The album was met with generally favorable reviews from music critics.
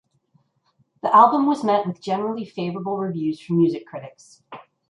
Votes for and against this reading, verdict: 2, 0, accepted